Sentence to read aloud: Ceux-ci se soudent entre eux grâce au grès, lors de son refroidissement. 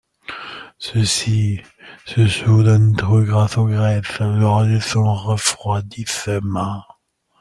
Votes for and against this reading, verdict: 0, 2, rejected